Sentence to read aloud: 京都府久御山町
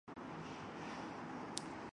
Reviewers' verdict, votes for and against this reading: rejected, 0, 2